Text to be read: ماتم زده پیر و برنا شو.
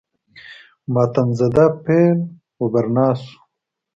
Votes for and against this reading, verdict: 4, 0, accepted